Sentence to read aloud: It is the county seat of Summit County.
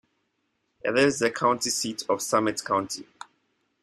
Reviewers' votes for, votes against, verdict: 2, 1, accepted